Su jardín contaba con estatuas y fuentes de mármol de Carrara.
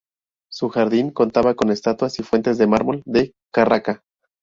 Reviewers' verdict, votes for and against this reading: rejected, 2, 2